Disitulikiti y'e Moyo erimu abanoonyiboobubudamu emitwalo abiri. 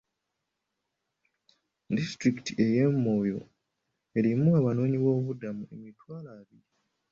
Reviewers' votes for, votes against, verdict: 2, 1, accepted